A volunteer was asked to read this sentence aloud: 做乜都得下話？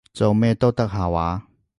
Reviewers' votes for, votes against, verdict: 1, 2, rejected